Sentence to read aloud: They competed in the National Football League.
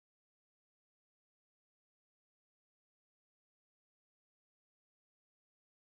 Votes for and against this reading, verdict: 0, 2, rejected